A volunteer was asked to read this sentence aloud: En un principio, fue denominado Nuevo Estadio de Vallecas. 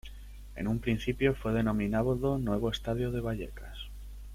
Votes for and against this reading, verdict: 0, 2, rejected